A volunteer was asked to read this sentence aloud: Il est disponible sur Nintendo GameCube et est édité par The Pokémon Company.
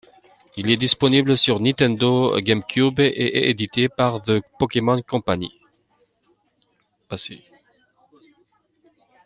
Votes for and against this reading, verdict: 2, 3, rejected